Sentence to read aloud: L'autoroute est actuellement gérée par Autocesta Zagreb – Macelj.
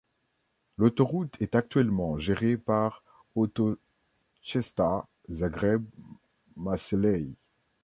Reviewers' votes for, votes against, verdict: 1, 2, rejected